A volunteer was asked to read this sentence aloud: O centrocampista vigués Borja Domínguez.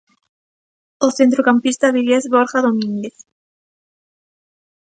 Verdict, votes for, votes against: accepted, 2, 0